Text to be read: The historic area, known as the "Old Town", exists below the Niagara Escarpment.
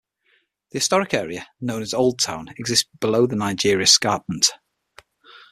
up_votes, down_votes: 3, 6